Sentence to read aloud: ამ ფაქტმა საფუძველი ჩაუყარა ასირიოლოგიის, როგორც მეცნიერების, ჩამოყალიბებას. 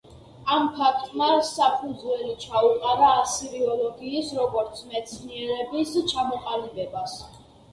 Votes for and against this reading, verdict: 2, 0, accepted